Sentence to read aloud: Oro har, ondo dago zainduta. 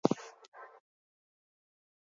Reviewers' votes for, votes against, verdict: 0, 4, rejected